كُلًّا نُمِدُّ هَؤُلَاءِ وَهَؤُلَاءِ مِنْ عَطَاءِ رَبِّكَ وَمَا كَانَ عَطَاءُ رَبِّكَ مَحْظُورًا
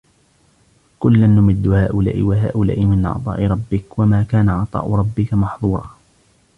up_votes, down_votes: 0, 2